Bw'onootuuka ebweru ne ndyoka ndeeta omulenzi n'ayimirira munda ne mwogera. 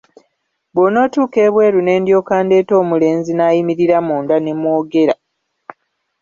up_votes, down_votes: 1, 2